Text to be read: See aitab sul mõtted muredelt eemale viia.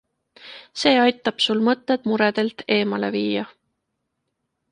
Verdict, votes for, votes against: accepted, 2, 0